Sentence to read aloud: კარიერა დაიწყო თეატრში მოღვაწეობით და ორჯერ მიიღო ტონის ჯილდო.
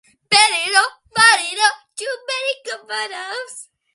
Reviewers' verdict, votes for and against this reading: rejected, 0, 2